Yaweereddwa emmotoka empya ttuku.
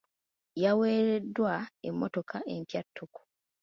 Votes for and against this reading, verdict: 3, 0, accepted